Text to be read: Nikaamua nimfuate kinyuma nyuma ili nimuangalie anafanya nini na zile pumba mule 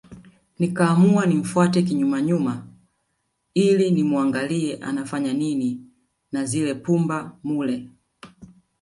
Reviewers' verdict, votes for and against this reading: rejected, 1, 2